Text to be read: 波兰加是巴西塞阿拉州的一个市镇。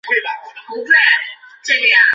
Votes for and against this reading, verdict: 0, 2, rejected